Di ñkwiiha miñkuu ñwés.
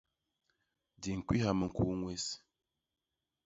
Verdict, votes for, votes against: rejected, 1, 2